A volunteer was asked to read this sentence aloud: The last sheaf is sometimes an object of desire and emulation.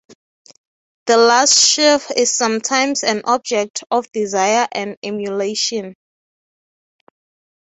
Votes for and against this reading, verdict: 3, 0, accepted